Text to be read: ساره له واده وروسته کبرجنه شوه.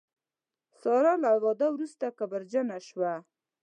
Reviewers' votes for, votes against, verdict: 2, 0, accepted